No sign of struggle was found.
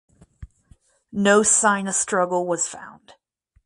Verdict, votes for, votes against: rejected, 2, 2